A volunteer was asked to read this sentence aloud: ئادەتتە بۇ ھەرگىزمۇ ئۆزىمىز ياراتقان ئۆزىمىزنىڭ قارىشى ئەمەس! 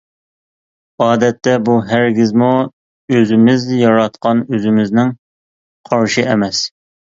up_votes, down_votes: 2, 0